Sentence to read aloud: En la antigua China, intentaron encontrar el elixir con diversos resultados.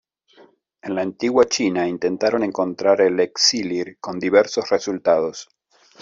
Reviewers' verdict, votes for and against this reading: rejected, 0, 2